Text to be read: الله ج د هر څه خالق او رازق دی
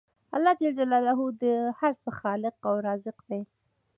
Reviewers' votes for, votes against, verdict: 2, 0, accepted